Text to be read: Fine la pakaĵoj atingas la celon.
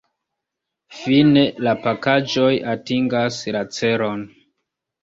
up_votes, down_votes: 1, 2